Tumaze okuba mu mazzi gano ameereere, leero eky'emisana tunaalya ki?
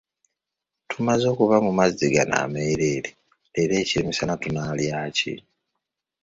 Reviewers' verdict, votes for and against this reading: accepted, 2, 0